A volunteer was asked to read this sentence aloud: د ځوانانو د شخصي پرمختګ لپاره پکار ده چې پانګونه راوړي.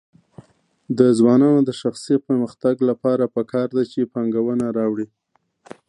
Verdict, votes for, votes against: rejected, 1, 2